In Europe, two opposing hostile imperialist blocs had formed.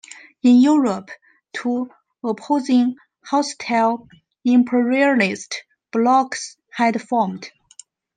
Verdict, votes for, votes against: accepted, 2, 1